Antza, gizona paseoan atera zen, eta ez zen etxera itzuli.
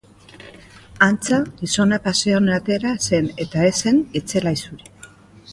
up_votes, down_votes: 1, 2